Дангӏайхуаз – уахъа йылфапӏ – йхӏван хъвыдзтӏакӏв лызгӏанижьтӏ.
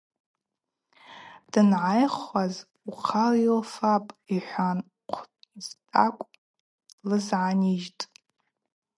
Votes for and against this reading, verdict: 4, 0, accepted